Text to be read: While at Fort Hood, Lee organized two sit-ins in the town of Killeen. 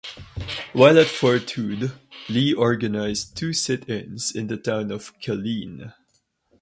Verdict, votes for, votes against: rejected, 0, 2